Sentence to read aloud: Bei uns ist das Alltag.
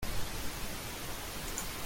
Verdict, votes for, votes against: rejected, 0, 2